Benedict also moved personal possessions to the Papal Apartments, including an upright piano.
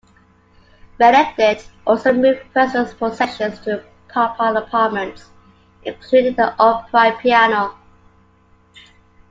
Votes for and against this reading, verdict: 0, 2, rejected